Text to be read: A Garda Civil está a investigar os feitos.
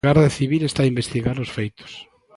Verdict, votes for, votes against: rejected, 0, 2